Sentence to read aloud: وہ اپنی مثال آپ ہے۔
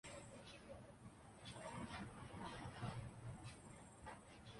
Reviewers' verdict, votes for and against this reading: rejected, 0, 2